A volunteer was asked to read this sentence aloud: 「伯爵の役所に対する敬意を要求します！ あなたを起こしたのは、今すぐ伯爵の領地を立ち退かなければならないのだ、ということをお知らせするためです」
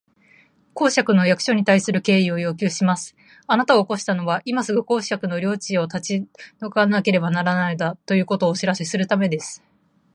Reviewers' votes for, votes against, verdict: 1, 2, rejected